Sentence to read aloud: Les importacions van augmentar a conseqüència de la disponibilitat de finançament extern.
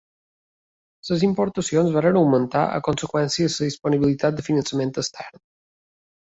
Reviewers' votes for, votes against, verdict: 1, 2, rejected